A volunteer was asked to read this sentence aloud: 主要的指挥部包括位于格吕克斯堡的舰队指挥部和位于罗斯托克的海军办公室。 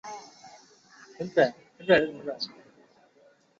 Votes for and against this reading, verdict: 0, 2, rejected